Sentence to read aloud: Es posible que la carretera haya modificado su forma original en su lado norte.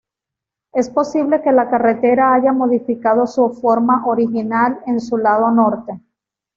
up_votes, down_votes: 2, 0